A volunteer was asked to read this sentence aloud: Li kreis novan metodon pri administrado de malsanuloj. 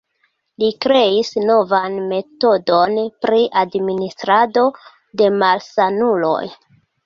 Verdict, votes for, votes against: accepted, 2, 0